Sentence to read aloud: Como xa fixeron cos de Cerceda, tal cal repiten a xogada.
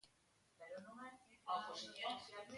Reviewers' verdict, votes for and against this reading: rejected, 0, 2